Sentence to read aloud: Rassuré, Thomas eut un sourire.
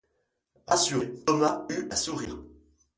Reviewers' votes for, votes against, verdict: 0, 2, rejected